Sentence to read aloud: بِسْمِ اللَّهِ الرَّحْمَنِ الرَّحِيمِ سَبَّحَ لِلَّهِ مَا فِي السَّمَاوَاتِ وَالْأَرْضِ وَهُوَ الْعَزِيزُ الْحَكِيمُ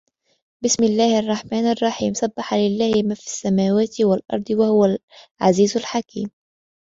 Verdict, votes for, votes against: accepted, 3, 0